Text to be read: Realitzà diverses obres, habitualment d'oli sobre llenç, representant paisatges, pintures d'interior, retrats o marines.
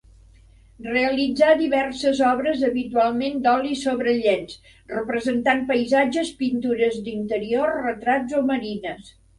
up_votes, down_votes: 3, 0